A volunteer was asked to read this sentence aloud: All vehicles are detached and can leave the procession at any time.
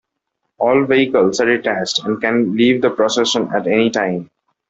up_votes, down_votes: 2, 0